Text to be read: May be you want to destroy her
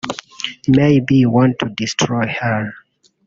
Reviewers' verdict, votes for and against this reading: rejected, 0, 2